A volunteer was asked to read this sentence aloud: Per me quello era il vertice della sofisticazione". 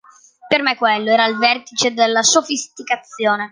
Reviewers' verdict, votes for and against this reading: accepted, 2, 0